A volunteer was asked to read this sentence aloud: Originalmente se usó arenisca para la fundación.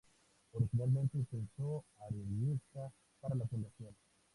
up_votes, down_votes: 0, 2